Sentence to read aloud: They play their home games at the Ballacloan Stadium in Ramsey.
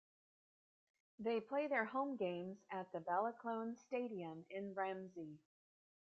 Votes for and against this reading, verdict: 2, 1, accepted